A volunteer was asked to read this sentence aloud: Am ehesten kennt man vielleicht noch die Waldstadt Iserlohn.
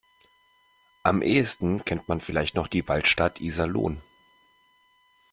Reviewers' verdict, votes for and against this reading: accepted, 2, 0